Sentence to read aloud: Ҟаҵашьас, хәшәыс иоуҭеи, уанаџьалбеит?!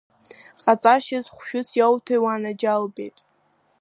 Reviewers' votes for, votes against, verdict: 2, 0, accepted